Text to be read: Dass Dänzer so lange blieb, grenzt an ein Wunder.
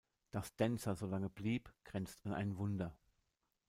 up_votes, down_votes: 1, 2